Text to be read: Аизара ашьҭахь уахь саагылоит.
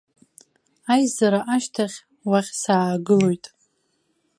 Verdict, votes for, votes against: rejected, 0, 2